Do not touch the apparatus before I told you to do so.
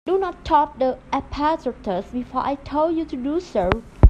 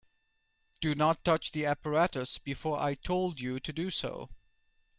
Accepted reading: second